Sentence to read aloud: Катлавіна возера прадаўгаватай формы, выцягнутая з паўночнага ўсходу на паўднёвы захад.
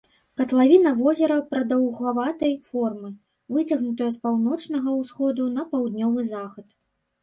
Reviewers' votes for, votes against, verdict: 2, 0, accepted